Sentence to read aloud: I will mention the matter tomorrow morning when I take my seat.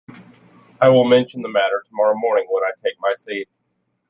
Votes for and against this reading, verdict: 2, 0, accepted